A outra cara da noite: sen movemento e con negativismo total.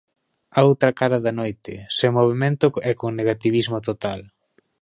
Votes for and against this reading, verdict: 2, 0, accepted